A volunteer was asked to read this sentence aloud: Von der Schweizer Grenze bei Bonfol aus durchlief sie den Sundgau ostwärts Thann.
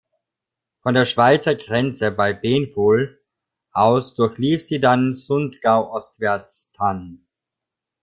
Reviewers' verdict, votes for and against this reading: rejected, 0, 2